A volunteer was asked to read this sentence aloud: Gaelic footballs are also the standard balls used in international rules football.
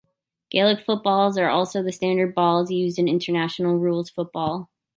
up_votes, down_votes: 2, 0